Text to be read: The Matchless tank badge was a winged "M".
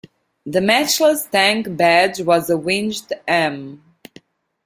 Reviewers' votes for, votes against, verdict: 0, 2, rejected